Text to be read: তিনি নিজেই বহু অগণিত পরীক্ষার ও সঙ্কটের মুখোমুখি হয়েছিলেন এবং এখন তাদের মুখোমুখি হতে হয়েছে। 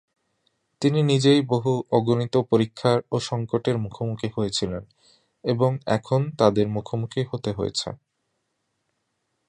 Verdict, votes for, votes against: accepted, 2, 0